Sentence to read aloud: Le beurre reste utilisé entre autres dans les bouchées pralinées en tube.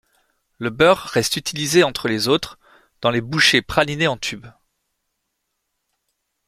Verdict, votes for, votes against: rejected, 0, 2